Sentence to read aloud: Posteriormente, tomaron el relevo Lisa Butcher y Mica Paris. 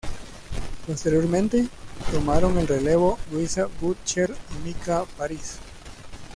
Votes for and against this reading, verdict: 0, 2, rejected